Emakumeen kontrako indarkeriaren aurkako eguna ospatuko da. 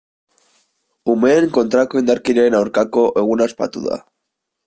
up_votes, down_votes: 0, 2